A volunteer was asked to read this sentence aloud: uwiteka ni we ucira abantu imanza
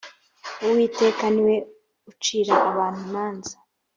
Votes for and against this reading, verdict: 2, 0, accepted